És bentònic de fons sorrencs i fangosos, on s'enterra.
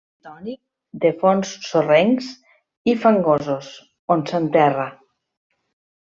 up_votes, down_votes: 0, 2